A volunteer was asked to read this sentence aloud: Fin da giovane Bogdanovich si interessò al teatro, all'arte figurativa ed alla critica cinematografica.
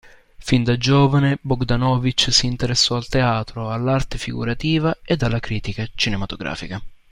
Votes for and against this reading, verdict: 2, 1, accepted